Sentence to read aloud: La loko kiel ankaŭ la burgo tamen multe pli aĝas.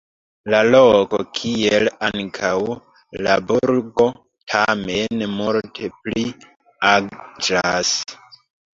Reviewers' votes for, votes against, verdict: 1, 3, rejected